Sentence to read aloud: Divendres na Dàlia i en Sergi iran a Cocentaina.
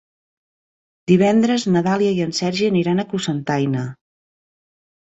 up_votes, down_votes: 2, 1